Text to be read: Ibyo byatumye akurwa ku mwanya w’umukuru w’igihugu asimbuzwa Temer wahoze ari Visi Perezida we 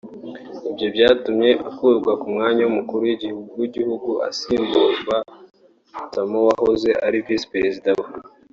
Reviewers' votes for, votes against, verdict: 1, 2, rejected